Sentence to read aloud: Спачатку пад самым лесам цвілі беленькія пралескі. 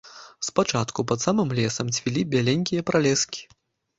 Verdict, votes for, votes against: rejected, 1, 2